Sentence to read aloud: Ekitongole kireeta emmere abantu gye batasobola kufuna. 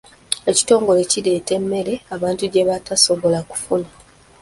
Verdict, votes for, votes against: rejected, 0, 2